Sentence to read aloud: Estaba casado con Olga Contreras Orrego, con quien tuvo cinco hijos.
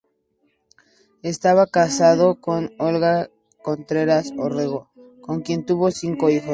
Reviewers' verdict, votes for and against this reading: accepted, 2, 0